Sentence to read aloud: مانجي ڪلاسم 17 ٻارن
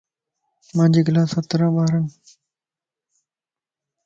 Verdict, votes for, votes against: rejected, 0, 2